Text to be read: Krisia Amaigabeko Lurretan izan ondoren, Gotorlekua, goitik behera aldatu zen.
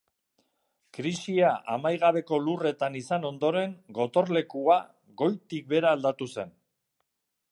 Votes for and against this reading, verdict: 2, 0, accepted